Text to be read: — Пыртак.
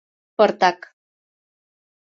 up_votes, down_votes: 2, 0